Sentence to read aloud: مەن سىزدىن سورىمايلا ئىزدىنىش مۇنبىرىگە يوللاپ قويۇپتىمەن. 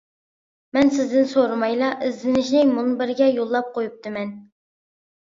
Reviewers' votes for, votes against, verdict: 0, 2, rejected